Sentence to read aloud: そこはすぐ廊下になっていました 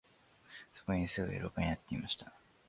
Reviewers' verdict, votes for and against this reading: rejected, 1, 2